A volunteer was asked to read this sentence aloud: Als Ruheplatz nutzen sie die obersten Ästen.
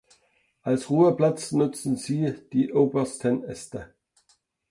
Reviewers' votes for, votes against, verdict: 0, 2, rejected